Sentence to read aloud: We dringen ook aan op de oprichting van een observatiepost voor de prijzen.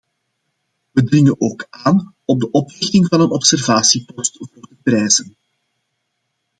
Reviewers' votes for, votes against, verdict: 1, 2, rejected